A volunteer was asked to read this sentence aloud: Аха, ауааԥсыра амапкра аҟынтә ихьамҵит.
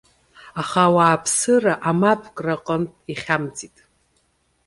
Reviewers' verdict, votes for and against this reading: accepted, 2, 0